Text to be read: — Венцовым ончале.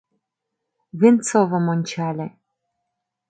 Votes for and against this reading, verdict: 2, 0, accepted